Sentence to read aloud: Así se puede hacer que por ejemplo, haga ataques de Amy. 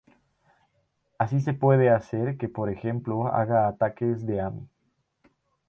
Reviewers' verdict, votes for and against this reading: rejected, 2, 2